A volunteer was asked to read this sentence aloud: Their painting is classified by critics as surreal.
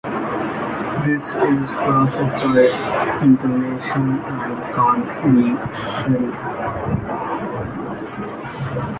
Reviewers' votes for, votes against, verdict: 0, 2, rejected